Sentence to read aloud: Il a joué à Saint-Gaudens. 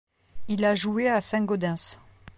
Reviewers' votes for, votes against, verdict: 2, 0, accepted